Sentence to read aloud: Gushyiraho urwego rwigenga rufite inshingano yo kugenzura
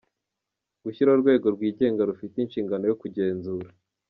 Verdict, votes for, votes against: accepted, 2, 0